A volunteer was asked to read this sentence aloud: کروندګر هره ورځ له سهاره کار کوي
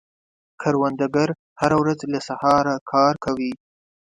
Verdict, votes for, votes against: accepted, 2, 0